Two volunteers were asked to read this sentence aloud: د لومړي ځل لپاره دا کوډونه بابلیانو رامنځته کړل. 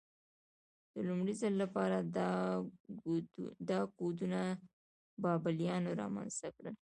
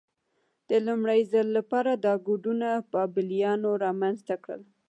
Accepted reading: second